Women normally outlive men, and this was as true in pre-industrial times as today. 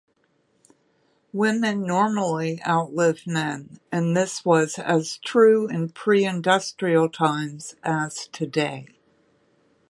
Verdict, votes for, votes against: accepted, 3, 0